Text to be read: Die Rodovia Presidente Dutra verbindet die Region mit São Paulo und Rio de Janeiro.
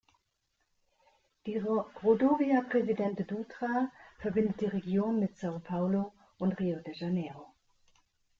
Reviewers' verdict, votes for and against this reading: rejected, 1, 2